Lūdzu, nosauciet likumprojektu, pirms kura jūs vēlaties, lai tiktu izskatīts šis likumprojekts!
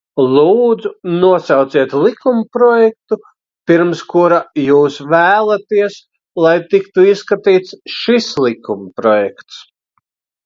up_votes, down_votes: 2, 0